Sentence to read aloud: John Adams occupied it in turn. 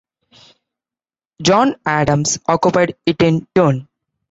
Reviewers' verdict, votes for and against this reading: rejected, 0, 2